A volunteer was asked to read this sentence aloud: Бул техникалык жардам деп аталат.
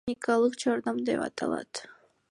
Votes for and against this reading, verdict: 2, 1, accepted